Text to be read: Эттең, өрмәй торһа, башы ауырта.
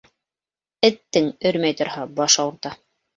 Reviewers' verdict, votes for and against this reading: accepted, 3, 0